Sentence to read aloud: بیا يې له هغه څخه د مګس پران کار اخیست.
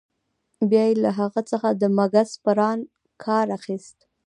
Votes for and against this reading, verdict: 2, 0, accepted